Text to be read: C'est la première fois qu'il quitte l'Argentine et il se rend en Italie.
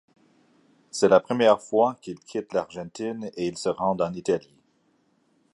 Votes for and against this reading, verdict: 2, 0, accepted